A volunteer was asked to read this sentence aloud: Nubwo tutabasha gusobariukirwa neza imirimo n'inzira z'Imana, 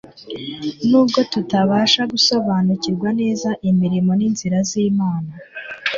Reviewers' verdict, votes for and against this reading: rejected, 1, 2